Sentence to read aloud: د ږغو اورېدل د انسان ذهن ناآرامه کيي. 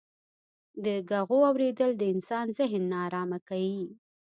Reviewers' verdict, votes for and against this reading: rejected, 1, 2